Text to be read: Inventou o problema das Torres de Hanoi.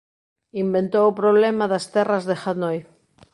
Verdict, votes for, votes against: rejected, 0, 2